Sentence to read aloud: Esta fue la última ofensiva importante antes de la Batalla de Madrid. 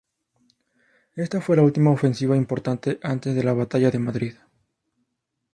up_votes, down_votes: 4, 0